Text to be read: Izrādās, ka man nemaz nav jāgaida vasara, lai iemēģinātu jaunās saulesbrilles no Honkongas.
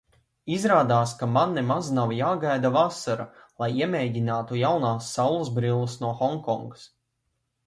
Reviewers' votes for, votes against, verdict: 2, 0, accepted